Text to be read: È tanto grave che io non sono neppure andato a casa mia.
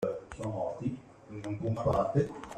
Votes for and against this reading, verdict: 0, 2, rejected